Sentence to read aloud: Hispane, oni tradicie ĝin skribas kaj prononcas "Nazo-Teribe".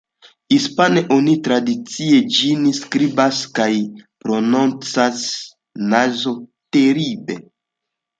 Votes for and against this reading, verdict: 2, 0, accepted